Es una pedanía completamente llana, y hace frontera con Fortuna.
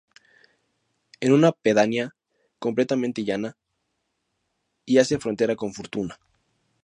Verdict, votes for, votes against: rejected, 0, 2